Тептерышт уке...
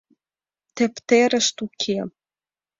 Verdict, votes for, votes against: accepted, 2, 0